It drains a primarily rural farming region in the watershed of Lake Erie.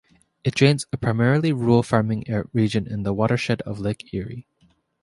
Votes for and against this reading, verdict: 2, 0, accepted